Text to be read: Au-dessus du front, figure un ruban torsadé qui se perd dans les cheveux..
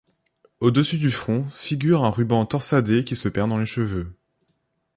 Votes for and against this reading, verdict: 2, 0, accepted